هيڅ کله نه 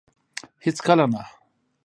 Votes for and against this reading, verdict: 2, 1, accepted